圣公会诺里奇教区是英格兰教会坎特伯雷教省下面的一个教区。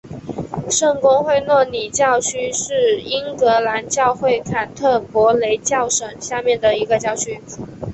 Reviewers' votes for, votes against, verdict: 4, 0, accepted